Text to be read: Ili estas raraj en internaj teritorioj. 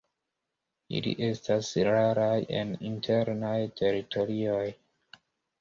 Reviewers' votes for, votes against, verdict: 1, 2, rejected